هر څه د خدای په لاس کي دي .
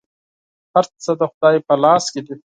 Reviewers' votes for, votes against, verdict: 4, 0, accepted